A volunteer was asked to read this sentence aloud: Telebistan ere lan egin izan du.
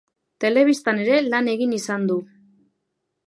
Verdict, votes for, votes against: accepted, 2, 0